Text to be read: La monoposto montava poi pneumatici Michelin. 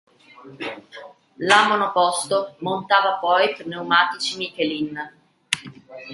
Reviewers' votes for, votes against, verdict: 2, 1, accepted